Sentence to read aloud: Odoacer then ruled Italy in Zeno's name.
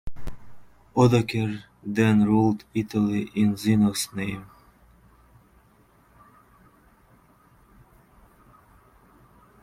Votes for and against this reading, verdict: 1, 2, rejected